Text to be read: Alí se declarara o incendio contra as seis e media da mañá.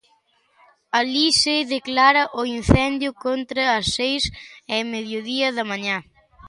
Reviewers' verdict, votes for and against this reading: rejected, 0, 2